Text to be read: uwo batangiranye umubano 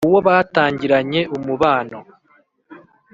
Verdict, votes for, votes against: accepted, 3, 0